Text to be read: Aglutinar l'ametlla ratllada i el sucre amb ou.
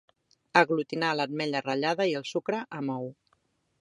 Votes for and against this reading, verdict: 3, 0, accepted